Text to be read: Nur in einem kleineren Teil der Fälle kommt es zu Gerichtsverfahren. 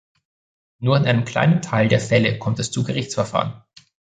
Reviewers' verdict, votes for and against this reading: rejected, 2, 3